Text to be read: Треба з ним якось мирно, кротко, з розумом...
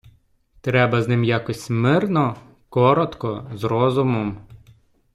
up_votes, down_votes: 1, 2